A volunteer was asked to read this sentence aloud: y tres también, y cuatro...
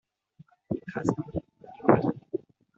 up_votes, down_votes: 0, 2